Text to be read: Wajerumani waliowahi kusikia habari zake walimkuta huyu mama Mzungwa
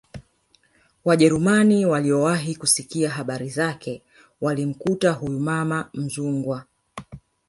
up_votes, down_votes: 0, 2